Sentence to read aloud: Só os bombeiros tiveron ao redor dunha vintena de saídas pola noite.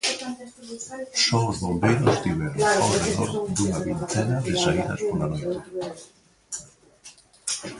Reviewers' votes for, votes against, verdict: 0, 4, rejected